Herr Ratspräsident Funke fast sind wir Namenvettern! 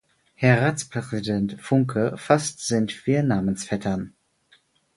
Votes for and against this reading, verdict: 0, 4, rejected